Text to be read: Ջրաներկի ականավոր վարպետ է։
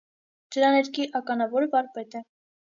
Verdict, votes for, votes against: accepted, 2, 0